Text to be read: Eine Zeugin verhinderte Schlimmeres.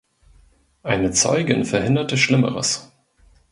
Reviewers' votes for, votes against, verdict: 2, 0, accepted